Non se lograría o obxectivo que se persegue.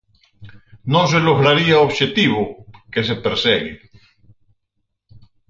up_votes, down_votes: 4, 0